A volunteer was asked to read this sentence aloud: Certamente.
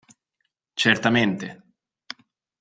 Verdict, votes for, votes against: accepted, 2, 0